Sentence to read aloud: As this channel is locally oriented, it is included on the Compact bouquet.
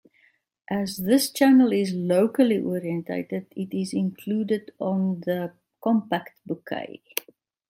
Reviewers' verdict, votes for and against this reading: rejected, 1, 2